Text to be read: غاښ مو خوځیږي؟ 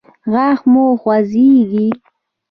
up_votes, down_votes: 1, 2